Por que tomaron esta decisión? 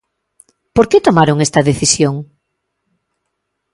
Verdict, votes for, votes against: accepted, 2, 0